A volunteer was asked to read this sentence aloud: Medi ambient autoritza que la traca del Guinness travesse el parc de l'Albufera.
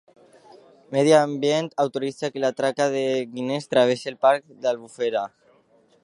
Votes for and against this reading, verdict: 1, 2, rejected